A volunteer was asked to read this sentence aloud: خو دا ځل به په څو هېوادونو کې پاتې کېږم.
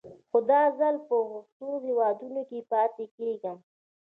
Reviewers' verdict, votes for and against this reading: rejected, 0, 2